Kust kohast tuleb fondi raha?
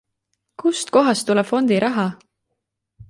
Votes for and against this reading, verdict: 2, 0, accepted